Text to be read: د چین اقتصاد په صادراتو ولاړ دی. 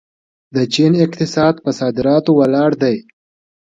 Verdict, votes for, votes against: accepted, 2, 1